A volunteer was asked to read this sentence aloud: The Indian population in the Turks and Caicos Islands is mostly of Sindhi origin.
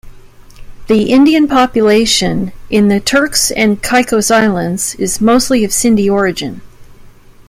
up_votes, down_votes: 2, 0